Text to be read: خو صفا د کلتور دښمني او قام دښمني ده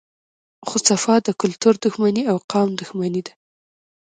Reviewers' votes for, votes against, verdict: 0, 2, rejected